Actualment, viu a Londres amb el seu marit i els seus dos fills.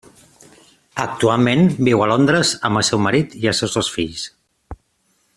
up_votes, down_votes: 2, 0